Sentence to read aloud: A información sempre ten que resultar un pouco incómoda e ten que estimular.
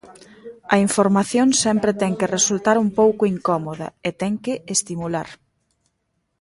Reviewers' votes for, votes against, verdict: 0, 2, rejected